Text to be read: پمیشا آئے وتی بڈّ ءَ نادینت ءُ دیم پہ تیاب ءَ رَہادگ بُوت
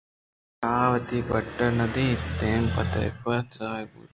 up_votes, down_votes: 2, 0